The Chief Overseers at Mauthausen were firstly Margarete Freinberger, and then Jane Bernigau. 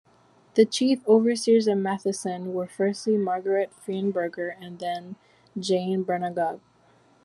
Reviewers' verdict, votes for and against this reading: accepted, 2, 0